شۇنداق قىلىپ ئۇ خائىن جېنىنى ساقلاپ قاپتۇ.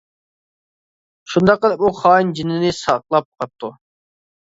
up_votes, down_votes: 0, 2